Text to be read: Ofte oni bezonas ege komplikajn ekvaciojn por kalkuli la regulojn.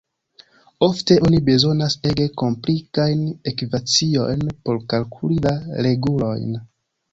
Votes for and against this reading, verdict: 1, 2, rejected